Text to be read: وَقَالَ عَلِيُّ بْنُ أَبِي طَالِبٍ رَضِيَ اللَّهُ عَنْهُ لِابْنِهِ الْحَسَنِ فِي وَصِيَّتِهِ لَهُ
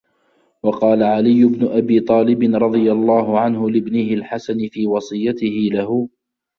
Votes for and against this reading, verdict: 2, 0, accepted